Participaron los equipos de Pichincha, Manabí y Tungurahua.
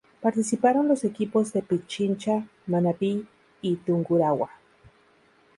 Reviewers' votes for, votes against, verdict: 0, 2, rejected